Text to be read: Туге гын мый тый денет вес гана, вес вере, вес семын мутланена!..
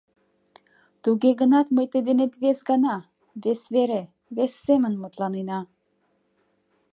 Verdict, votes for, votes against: rejected, 0, 2